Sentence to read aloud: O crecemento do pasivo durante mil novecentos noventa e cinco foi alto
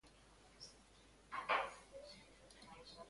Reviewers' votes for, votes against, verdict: 0, 3, rejected